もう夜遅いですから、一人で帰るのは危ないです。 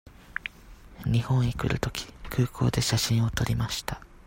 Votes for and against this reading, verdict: 0, 2, rejected